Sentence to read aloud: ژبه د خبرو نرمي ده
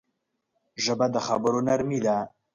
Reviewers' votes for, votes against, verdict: 2, 0, accepted